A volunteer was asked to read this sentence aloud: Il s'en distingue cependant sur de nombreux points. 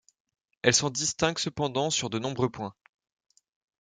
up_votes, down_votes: 0, 2